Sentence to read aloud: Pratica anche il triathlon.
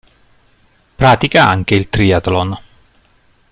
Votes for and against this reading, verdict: 2, 0, accepted